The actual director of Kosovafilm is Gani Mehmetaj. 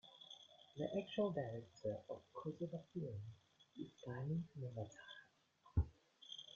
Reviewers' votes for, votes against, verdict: 1, 2, rejected